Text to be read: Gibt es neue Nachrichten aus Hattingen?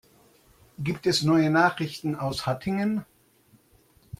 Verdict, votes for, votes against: accepted, 2, 0